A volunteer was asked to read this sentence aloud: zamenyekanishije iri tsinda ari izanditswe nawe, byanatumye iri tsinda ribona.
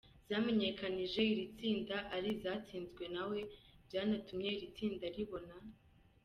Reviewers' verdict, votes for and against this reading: rejected, 1, 2